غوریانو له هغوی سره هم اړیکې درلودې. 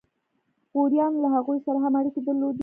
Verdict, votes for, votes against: accepted, 2, 0